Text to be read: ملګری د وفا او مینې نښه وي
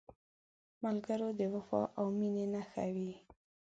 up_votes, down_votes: 4, 2